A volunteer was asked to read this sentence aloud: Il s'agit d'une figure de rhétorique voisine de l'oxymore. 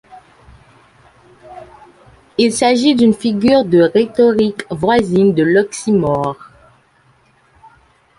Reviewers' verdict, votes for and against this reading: accepted, 2, 1